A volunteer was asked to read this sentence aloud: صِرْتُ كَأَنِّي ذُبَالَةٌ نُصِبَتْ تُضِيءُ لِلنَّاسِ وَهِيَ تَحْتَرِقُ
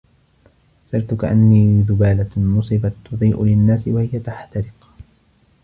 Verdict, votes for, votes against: rejected, 1, 2